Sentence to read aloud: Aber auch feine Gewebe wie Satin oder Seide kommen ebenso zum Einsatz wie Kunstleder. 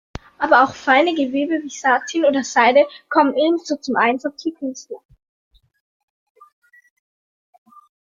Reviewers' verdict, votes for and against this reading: rejected, 0, 2